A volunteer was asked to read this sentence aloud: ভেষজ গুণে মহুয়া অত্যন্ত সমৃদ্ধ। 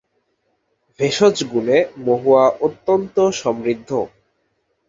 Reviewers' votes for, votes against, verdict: 2, 0, accepted